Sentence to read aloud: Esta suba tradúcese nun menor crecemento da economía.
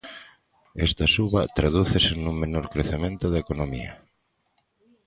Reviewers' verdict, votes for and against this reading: accepted, 2, 0